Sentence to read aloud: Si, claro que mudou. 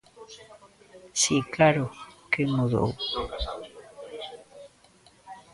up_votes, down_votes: 1, 2